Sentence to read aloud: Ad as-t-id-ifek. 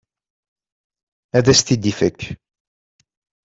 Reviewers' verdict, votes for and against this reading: accepted, 2, 1